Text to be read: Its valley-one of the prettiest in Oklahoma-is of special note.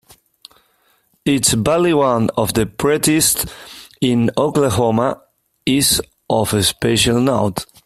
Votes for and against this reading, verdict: 1, 2, rejected